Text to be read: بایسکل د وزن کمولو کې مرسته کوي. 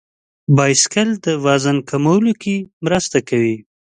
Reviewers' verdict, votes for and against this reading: accepted, 3, 0